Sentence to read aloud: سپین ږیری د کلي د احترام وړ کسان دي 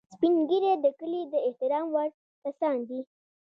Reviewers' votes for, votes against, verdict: 2, 0, accepted